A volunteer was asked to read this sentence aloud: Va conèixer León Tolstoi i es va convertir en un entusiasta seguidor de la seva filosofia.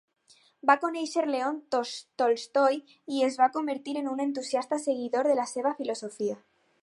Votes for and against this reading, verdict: 0, 4, rejected